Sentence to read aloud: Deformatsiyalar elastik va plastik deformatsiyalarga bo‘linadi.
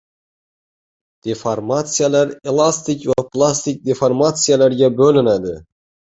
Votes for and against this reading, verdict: 1, 2, rejected